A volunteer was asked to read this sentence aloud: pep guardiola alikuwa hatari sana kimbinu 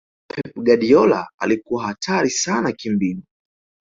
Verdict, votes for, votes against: rejected, 1, 2